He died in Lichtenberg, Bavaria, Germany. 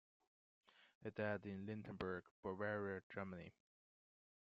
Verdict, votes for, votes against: rejected, 0, 2